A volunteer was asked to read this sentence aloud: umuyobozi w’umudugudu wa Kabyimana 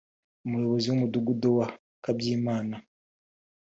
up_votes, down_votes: 1, 2